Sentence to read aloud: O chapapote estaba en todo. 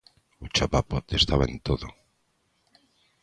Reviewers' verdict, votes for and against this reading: accepted, 2, 0